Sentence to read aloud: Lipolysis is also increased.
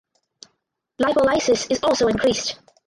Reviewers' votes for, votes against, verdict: 2, 0, accepted